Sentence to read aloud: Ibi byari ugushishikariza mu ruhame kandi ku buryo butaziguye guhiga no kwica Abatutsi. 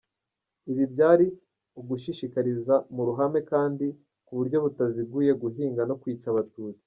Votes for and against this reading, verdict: 1, 2, rejected